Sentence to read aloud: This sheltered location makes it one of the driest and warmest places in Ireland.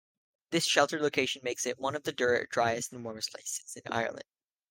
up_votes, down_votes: 1, 2